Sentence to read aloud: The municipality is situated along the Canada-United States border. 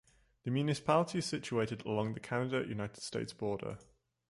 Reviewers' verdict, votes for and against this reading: accepted, 2, 0